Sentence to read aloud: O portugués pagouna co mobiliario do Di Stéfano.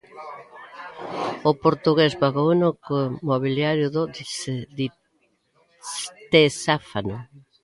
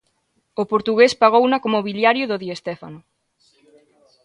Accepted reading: second